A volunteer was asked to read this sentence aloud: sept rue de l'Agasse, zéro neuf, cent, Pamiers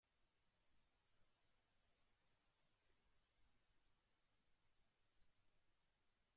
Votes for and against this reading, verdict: 0, 2, rejected